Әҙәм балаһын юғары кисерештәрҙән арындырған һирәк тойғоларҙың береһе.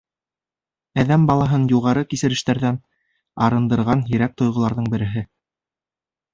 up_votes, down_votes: 2, 0